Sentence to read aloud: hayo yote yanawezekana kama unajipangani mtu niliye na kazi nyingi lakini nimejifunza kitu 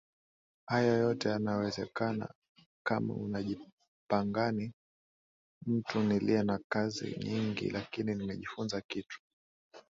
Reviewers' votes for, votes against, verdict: 0, 2, rejected